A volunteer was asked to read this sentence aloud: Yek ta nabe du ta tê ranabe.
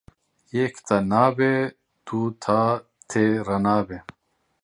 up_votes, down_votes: 1, 2